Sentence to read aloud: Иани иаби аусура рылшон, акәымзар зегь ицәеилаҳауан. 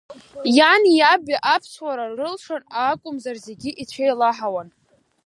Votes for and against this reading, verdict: 0, 2, rejected